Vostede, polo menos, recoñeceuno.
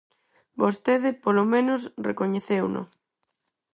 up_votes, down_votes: 4, 0